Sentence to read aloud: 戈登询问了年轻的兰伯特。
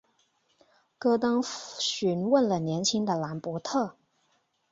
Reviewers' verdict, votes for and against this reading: accepted, 5, 2